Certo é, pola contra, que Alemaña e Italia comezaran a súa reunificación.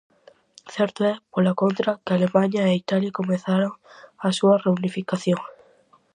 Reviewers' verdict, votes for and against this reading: accepted, 4, 0